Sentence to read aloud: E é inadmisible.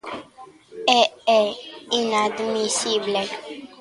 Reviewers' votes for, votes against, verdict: 2, 0, accepted